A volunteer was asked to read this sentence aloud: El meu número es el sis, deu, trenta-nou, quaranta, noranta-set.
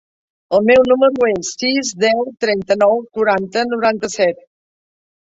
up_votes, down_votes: 1, 2